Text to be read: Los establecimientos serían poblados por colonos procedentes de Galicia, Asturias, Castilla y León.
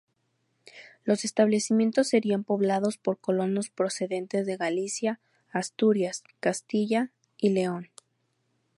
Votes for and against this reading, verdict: 0, 2, rejected